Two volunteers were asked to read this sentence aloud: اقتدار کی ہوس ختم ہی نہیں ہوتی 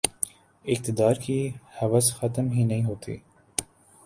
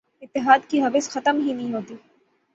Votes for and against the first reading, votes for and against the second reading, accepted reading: 3, 0, 3, 3, first